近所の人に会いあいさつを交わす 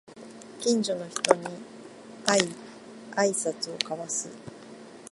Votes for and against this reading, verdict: 2, 0, accepted